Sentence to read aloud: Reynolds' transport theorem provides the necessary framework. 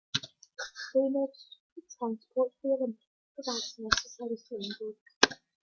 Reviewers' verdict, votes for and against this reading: rejected, 0, 2